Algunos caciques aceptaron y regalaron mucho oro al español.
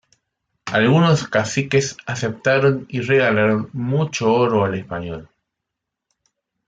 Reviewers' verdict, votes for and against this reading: accepted, 2, 0